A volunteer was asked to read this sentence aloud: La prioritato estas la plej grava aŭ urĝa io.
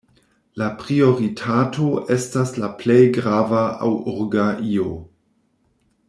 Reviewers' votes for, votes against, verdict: 1, 2, rejected